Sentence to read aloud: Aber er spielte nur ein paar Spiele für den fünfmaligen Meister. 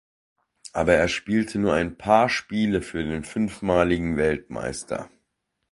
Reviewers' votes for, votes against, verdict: 0, 2, rejected